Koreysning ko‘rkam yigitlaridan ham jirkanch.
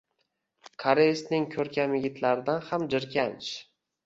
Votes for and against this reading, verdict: 2, 0, accepted